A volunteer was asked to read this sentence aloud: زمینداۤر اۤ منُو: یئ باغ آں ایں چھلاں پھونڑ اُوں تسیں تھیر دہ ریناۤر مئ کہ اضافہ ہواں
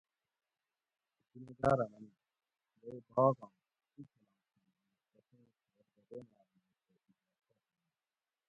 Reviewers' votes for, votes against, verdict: 0, 2, rejected